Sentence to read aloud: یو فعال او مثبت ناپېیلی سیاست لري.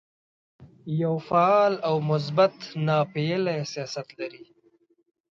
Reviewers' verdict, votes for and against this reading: accepted, 2, 0